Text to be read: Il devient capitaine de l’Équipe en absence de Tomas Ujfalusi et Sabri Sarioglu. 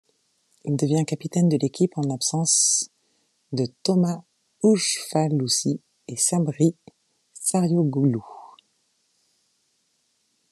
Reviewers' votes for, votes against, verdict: 0, 2, rejected